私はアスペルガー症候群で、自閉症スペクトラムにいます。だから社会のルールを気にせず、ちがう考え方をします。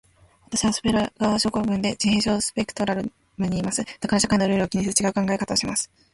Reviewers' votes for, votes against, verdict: 2, 0, accepted